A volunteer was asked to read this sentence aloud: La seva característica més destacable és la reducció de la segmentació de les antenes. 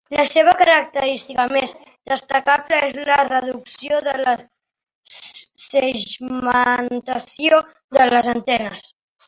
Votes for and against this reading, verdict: 0, 2, rejected